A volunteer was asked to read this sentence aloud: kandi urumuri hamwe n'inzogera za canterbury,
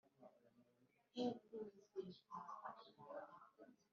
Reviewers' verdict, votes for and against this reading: rejected, 0, 3